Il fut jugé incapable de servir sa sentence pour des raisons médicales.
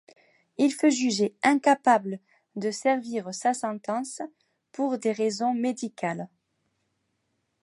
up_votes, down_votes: 2, 0